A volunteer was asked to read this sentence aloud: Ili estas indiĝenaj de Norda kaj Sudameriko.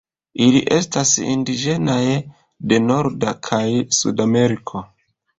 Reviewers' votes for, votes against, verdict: 0, 2, rejected